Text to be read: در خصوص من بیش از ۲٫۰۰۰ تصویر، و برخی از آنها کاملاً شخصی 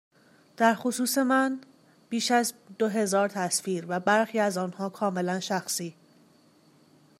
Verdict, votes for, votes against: rejected, 0, 2